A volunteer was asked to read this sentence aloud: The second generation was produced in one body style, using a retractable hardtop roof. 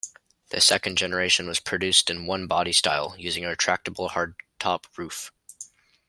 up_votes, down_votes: 2, 0